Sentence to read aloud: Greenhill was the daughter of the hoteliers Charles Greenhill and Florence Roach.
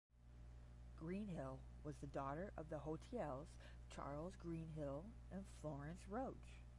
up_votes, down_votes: 0, 10